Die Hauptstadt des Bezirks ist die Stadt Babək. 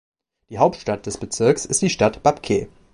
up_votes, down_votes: 1, 2